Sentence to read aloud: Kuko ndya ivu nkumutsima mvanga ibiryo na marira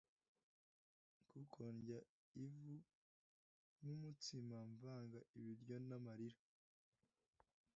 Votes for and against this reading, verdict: 1, 2, rejected